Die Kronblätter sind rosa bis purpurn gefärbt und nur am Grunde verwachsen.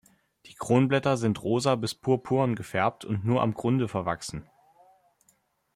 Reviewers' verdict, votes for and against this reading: accepted, 2, 0